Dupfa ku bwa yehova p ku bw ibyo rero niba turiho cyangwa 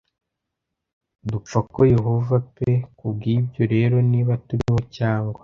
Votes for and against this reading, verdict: 1, 2, rejected